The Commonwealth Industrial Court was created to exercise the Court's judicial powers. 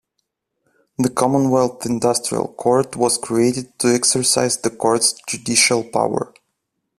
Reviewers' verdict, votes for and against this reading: rejected, 0, 2